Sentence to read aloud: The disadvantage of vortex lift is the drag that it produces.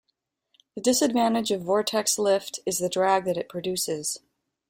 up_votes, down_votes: 2, 0